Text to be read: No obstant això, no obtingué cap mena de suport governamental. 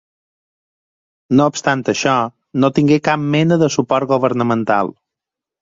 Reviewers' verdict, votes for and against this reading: rejected, 2, 4